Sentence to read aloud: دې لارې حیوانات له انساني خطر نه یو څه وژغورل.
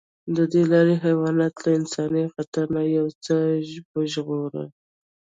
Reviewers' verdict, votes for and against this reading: accepted, 2, 1